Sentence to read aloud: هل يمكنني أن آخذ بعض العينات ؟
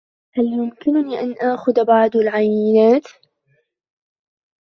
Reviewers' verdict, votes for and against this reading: rejected, 0, 2